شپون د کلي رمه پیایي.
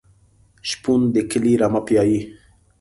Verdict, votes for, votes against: accepted, 2, 0